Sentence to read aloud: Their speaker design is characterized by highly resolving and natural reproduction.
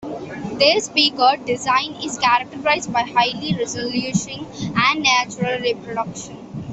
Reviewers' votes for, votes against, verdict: 0, 3, rejected